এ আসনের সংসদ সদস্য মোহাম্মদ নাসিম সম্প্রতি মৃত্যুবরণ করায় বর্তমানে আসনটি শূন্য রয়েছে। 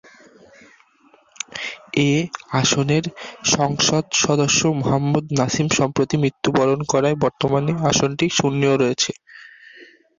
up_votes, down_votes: 10, 2